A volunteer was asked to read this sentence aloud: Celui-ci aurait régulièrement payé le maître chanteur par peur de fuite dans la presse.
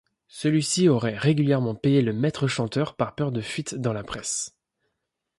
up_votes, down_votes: 2, 0